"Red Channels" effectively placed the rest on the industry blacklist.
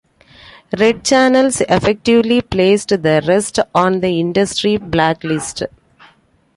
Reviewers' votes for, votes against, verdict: 2, 1, accepted